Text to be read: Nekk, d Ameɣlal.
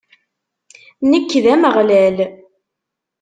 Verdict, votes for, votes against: accepted, 2, 0